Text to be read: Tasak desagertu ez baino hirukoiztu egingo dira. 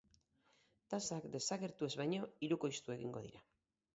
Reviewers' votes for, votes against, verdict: 4, 0, accepted